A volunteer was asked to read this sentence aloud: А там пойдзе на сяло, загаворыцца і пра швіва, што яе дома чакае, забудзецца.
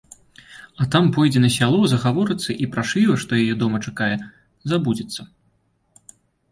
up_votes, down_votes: 3, 0